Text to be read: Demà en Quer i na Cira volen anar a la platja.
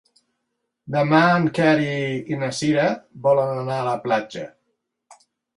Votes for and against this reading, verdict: 0, 2, rejected